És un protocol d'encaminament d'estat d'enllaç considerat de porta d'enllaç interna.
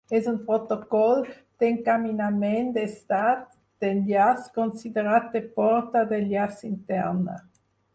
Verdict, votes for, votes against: rejected, 2, 4